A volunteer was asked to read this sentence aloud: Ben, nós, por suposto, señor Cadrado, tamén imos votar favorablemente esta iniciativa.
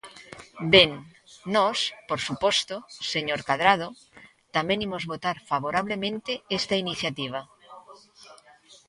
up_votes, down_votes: 2, 0